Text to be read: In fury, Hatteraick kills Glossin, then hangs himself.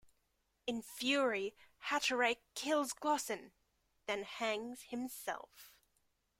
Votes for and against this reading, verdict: 1, 2, rejected